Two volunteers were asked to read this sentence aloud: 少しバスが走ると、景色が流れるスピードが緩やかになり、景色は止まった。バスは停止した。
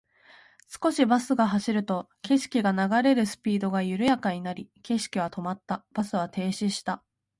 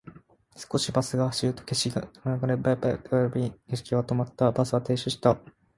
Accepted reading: first